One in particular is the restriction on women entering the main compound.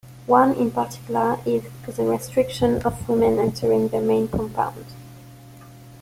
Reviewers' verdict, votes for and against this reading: rejected, 1, 2